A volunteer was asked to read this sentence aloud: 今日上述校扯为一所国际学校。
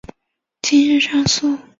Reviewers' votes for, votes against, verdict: 0, 2, rejected